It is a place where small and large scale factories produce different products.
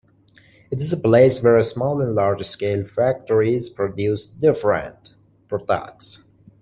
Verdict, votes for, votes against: rejected, 0, 2